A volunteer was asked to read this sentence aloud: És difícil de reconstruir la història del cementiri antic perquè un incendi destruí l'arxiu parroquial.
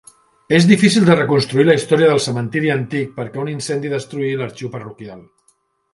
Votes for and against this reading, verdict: 3, 0, accepted